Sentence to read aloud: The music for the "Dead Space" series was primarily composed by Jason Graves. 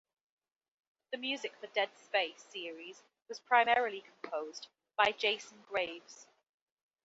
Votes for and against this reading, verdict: 2, 0, accepted